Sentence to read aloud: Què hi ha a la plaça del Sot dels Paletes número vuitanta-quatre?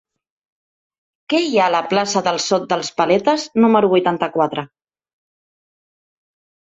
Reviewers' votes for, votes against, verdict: 3, 0, accepted